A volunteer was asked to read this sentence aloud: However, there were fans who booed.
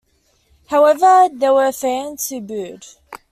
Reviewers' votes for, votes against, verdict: 2, 0, accepted